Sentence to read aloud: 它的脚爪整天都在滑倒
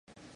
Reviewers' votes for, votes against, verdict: 0, 3, rejected